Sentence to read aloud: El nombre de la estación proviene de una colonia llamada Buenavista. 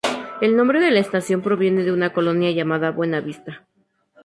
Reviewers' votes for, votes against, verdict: 4, 0, accepted